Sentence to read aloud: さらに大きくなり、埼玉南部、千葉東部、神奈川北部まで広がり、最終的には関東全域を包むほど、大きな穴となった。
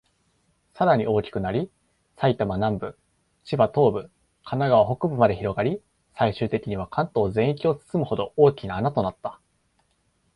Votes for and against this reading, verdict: 2, 0, accepted